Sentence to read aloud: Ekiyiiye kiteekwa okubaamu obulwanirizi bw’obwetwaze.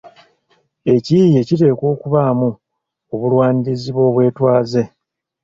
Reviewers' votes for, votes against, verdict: 2, 0, accepted